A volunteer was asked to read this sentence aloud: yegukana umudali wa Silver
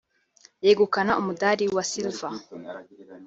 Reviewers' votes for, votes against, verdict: 3, 0, accepted